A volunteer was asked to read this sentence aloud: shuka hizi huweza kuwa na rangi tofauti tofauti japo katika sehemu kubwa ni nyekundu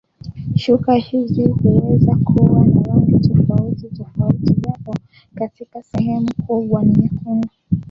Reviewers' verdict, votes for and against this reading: accepted, 2, 1